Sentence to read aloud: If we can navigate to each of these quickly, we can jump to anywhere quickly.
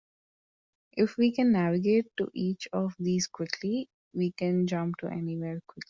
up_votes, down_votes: 2, 0